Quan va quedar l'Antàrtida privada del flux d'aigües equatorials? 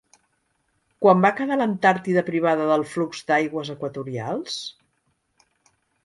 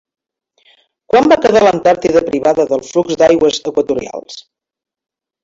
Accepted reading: first